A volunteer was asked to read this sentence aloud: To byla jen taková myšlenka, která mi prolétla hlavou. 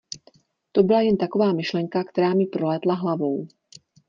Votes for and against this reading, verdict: 2, 0, accepted